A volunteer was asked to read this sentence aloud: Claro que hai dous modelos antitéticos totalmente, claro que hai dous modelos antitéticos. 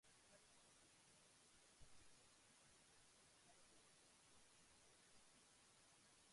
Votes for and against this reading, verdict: 1, 2, rejected